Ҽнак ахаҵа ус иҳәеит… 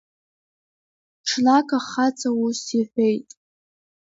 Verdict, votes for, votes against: rejected, 1, 2